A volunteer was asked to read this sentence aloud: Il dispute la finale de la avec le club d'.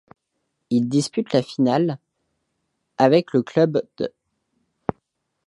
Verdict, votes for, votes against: rejected, 1, 2